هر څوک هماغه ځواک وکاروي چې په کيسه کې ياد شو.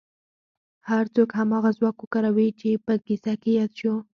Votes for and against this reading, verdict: 4, 0, accepted